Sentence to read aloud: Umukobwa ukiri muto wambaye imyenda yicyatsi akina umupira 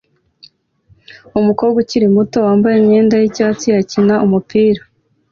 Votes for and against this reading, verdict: 2, 0, accepted